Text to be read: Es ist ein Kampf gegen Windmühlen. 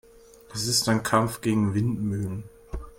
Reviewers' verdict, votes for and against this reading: accepted, 2, 1